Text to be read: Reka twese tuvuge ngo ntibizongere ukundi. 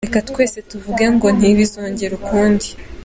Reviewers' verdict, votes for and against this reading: accepted, 2, 0